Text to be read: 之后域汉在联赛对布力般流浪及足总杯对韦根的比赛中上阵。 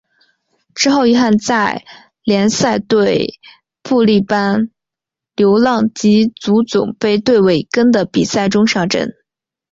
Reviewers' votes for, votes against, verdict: 3, 0, accepted